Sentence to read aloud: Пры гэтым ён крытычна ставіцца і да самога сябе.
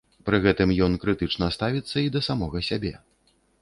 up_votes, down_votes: 2, 0